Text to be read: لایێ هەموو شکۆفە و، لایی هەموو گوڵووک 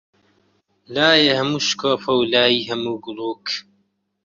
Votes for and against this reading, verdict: 2, 0, accepted